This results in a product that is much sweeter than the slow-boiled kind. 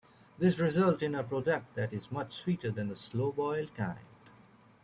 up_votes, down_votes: 2, 1